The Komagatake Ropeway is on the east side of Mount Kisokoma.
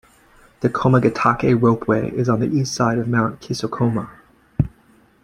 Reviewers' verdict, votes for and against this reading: accepted, 2, 0